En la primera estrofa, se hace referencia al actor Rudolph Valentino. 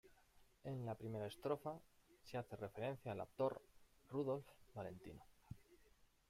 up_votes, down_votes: 1, 2